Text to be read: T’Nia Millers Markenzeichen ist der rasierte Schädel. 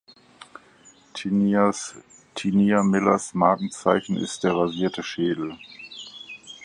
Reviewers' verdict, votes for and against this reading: rejected, 0, 4